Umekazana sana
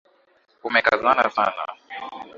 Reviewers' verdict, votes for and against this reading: rejected, 1, 2